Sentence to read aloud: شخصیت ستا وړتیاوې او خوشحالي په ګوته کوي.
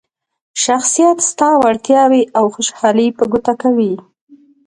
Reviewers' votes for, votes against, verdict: 2, 1, accepted